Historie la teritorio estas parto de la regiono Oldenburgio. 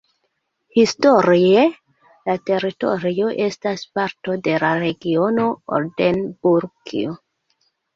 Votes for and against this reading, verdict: 0, 2, rejected